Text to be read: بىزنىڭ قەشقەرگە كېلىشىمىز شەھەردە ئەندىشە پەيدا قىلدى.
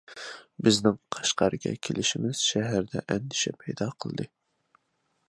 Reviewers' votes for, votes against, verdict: 2, 0, accepted